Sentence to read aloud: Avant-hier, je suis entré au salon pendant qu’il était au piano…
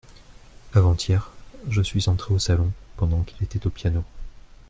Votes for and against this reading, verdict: 2, 0, accepted